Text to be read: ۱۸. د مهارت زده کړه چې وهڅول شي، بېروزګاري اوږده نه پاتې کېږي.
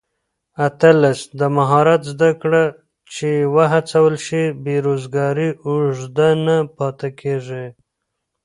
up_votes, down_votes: 0, 2